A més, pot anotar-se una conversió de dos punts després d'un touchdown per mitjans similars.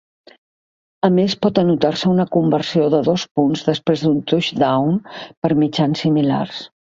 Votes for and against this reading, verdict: 0, 2, rejected